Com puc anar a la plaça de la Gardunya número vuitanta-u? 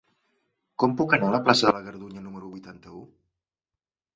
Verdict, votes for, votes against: accepted, 3, 0